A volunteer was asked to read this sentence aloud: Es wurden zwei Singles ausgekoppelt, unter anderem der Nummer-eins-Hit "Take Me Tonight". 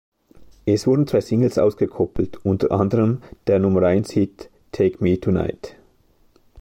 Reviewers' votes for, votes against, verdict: 2, 0, accepted